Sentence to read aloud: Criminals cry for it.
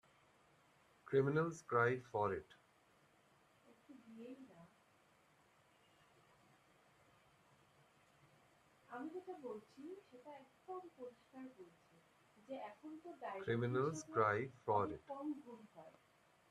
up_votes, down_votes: 0, 2